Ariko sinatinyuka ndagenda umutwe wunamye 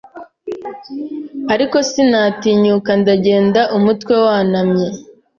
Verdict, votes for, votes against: rejected, 1, 2